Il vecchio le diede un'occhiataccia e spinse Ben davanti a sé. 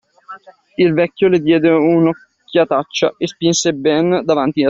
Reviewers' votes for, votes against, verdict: 1, 2, rejected